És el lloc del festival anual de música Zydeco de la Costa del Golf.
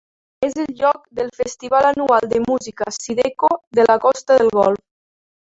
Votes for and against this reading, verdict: 2, 0, accepted